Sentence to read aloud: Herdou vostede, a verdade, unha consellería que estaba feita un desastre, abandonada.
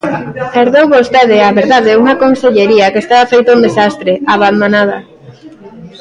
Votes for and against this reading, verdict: 0, 2, rejected